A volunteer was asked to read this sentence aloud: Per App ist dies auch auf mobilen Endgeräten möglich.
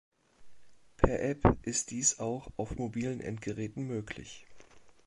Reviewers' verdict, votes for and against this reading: rejected, 2, 3